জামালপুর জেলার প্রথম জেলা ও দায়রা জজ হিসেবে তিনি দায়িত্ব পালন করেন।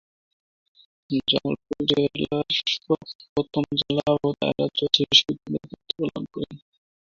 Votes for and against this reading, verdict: 0, 5, rejected